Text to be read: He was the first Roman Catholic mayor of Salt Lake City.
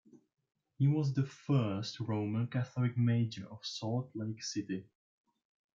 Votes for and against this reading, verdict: 1, 2, rejected